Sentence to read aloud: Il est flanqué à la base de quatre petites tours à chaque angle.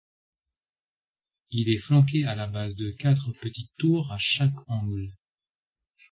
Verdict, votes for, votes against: accepted, 2, 0